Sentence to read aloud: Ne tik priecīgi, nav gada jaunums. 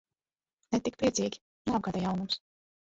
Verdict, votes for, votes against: rejected, 0, 2